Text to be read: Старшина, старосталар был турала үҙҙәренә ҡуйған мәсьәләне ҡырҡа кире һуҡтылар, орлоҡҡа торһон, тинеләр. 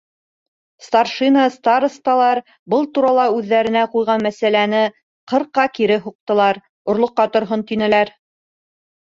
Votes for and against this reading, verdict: 1, 2, rejected